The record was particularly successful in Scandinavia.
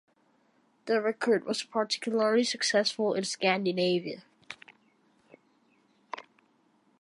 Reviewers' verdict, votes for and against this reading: accepted, 2, 0